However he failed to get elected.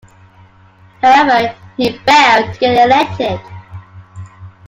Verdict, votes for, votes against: accepted, 2, 1